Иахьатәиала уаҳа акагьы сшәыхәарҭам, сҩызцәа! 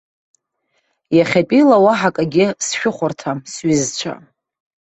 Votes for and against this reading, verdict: 2, 0, accepted